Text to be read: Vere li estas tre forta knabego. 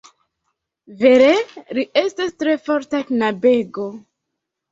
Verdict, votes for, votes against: accepted, 2, 0